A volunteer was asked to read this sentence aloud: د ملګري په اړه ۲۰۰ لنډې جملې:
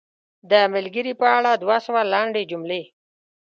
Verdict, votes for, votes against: rejected, 0, 2